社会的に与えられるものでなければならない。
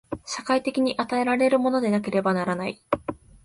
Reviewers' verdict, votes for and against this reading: accepted, 2, 0